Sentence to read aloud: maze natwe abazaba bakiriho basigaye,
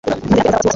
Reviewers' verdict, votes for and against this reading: accepted, 3, 1